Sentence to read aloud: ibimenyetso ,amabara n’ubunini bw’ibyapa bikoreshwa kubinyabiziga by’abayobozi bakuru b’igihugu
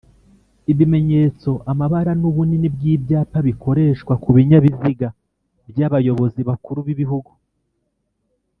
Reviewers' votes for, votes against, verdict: 3, 1, accepted